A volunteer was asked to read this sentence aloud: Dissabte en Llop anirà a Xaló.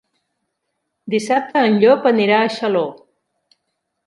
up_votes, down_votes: 3, 0